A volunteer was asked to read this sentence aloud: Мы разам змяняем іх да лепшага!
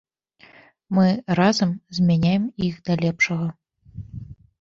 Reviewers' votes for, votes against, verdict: 2, 0, accepted